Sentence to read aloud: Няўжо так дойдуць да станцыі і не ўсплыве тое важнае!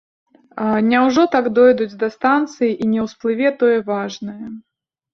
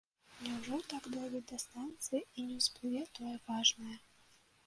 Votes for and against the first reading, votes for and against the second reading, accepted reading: 2, 1, 0, 2, first